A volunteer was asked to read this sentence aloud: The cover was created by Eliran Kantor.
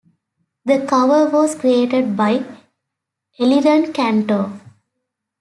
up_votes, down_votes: 2, 0